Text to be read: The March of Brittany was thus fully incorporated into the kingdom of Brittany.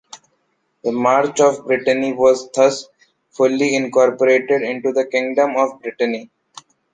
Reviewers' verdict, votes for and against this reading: accepted, 2, 0